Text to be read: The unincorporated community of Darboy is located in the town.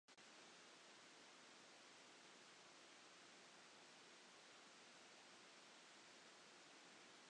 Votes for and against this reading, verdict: 0, 2, rejected